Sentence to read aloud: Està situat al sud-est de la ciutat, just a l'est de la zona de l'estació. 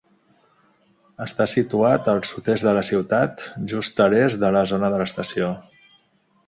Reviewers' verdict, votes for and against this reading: accepted, 2, 0